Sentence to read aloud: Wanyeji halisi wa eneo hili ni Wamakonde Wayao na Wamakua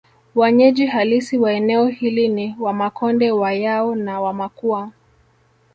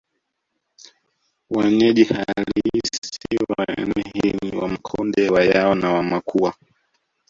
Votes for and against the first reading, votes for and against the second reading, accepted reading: 2, 0, 1, 2, first